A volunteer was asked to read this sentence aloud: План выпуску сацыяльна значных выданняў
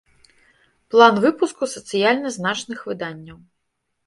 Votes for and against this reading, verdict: 2, 0, accepted